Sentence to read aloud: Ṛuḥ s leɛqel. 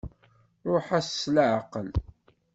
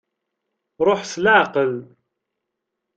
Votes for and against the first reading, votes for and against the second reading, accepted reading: 0, 2, 2, 0, second